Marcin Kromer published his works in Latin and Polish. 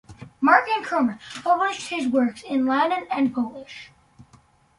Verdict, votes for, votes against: rejected, 0, 2